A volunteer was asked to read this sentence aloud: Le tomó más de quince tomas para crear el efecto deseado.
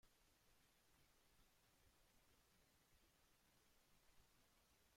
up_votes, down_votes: 0, 2